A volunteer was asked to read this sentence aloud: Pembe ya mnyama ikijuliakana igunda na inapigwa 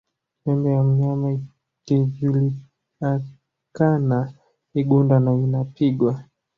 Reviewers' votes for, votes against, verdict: 0, 2, rejected